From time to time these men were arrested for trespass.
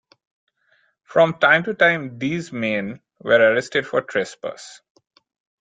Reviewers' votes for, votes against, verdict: 2, 0, accepted